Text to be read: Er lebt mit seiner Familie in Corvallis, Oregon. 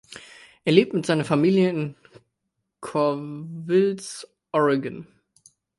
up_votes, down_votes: 0, 2